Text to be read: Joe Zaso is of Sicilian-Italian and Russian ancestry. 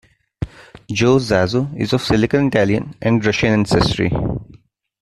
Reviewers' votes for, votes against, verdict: 1, 2, rejected